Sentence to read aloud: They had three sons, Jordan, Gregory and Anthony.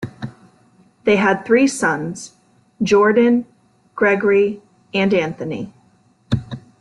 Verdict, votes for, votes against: accepted, 2, 0